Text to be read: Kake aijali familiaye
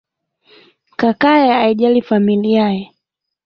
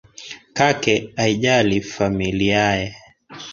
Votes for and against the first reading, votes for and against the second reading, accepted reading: 0, 2, 2, 0, second